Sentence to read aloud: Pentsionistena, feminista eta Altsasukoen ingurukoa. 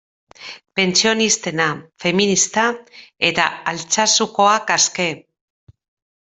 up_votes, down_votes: 0, 2